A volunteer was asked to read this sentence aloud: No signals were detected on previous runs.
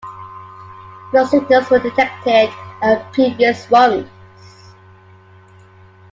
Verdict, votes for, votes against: accepted, 2, 0